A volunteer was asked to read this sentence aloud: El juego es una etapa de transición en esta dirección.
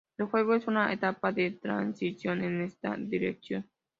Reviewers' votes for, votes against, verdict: 2, 0, accepted